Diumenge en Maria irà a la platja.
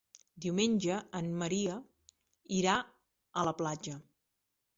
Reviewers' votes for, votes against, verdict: 0, 2, rejected